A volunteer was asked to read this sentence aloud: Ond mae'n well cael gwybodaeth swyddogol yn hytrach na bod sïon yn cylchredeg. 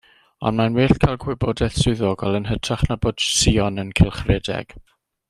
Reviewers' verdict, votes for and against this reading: accepted, 2, 0